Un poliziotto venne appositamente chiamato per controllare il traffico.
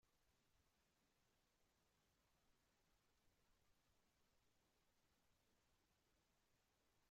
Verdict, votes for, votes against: rejected, 0, 2